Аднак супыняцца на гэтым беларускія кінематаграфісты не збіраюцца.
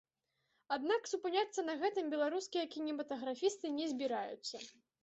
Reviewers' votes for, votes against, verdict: 2, 0, accepted